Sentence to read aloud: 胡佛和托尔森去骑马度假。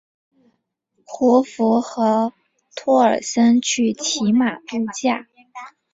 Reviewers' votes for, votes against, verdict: 2, 0, accepted